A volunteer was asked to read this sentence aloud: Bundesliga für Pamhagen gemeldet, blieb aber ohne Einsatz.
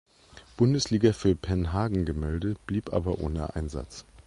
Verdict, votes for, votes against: rejected, 1, 2